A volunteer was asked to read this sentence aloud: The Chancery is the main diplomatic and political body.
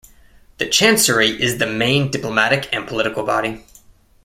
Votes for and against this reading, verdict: 2, 0, accepted